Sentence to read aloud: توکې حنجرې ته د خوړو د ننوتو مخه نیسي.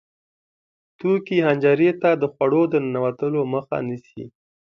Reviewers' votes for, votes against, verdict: 2, 0, accepted